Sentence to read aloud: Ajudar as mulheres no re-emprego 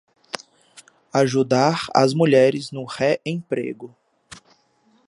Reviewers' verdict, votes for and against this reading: accepted, 2, 0